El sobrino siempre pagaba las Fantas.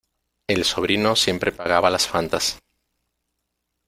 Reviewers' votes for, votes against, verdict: 2, 0, accepted